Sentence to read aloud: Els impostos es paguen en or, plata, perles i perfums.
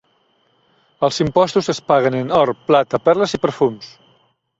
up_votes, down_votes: 3, 0